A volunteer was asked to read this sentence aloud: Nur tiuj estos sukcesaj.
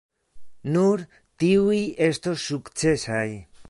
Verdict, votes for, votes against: accepted, 2, 0